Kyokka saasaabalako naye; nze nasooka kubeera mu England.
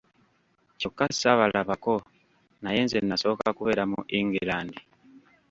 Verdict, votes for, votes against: rejected, 1, 2